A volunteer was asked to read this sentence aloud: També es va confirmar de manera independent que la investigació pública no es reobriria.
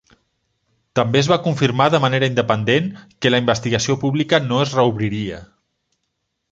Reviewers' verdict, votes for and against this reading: accepted, 3, 0